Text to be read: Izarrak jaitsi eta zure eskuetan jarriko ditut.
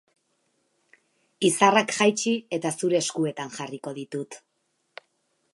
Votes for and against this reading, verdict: 8, 0, accepted